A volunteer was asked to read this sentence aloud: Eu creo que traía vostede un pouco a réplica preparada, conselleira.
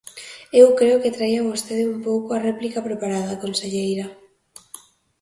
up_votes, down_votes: 2, 0